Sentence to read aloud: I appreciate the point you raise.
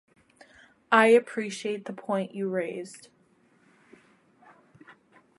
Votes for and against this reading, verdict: 1, 2, rejected